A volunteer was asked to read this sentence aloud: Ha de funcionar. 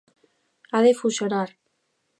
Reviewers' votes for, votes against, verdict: 0, 2, rejected